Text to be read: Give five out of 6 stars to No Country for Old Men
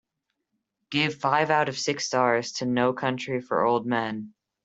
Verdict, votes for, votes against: rejected, 0, 2